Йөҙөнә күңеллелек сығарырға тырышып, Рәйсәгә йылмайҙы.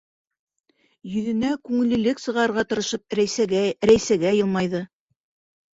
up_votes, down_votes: 0, 2